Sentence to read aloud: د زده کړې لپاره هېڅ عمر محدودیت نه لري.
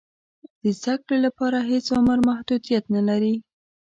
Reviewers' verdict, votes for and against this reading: accepted, 2, 1